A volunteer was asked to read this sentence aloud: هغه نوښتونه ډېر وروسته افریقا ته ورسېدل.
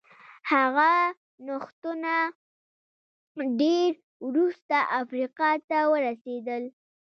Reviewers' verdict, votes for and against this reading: rejected, 0, 2